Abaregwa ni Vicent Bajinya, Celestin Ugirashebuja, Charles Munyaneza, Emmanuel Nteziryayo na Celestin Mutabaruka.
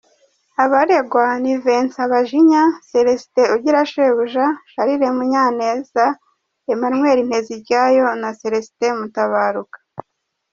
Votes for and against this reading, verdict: 1, 2, rejected